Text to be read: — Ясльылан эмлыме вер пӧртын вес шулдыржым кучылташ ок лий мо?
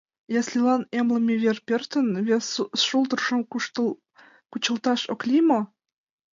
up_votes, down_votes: 0, 2